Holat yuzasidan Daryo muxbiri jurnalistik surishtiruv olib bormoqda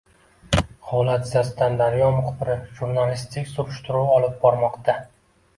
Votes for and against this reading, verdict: 0, 2, rejected